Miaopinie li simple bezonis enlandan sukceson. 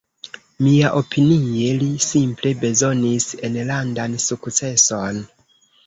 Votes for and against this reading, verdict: 1, 2, rejected